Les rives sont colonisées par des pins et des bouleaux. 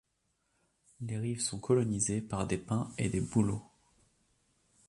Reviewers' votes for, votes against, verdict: 3, 0, accepted